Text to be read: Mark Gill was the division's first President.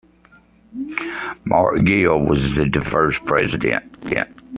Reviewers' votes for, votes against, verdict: 0, 2, rejected